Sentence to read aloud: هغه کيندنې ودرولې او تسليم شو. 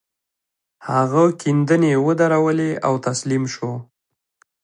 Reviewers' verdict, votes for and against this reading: accepted, 2, 0